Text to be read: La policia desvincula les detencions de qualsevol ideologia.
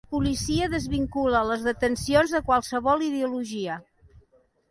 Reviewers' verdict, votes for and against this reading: rejected, 1, 2